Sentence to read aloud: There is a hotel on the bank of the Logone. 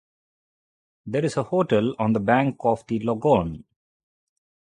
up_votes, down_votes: 2, 0